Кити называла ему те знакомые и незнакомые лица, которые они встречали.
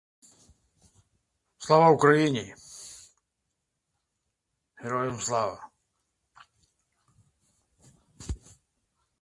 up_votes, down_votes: 0, 2